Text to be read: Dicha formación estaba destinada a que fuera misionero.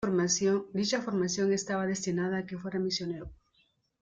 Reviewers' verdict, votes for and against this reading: rejected, 1, 2